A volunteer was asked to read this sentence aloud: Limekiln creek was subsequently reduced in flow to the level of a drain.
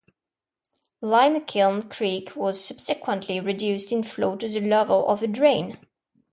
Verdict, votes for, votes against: accepted, 2, 0